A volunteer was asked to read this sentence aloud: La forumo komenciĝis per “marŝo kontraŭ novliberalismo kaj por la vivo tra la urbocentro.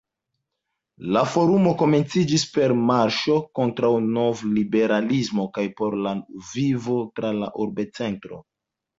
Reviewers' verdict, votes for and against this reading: rejected, 1, 2